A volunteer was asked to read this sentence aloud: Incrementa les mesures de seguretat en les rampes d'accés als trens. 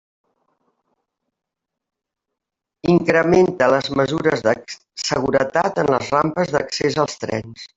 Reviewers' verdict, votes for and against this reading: rejected, 1, 2